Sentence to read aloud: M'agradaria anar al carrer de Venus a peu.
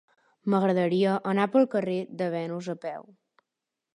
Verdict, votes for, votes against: rejected, 0, 2